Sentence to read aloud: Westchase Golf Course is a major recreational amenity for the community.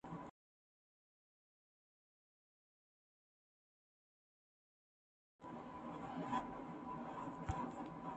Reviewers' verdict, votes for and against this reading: rejected, 0, 2